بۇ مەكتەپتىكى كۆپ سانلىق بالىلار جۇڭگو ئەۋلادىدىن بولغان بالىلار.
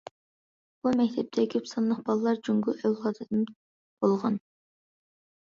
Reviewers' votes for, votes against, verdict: 0, 2, rejected